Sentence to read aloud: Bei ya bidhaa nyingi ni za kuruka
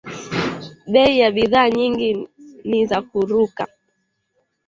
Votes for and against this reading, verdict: 1, 2, rejected